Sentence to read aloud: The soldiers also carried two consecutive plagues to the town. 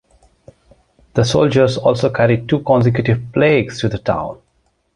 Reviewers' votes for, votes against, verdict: 2, 0, accepted